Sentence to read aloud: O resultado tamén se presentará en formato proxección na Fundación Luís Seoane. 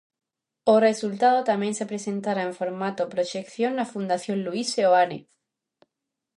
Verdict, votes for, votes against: accepted, 2, 0